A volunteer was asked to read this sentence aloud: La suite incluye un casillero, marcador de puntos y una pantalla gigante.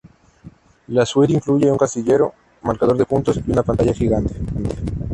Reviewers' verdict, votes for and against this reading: rejected, 0, 2